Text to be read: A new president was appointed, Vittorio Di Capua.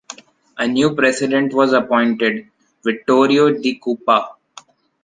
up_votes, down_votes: 0, 2